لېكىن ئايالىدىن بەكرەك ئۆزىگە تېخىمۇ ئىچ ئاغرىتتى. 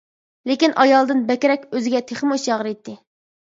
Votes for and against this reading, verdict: 0, 2, rejected